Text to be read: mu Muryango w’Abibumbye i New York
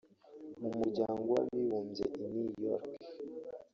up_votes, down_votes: 2, 3